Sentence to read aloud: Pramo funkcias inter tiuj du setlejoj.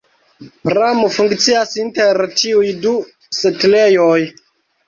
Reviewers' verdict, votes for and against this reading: accepted, 2, 1